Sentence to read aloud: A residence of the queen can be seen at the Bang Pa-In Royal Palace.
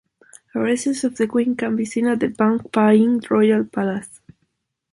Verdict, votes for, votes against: rejected, 1, 2